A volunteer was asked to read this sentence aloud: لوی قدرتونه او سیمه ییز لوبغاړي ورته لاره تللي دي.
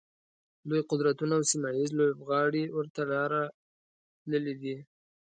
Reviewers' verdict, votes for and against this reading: rejected, 1, 2